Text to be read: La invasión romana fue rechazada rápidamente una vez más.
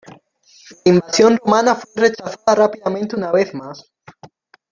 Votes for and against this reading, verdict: 0, 2, rejected